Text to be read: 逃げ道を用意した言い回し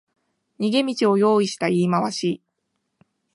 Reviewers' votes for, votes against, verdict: 2, 0, accepted